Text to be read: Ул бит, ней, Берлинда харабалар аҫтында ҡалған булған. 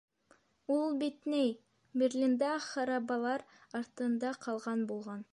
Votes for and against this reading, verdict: 3, 0, accepted